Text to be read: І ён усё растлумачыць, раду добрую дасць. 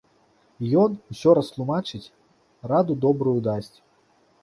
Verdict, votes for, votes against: accepted, 2, 1